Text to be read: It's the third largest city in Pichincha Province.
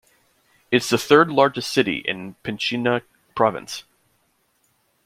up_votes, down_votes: 1, 2